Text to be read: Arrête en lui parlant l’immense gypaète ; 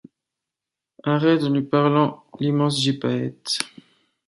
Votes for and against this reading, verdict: 1, 2, rejected